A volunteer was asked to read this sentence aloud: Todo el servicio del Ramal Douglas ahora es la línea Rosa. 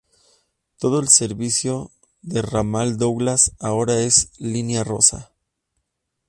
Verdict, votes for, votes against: rejected, 0, 2